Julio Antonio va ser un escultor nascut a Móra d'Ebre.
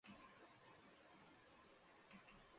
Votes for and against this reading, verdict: 0, 2, rejected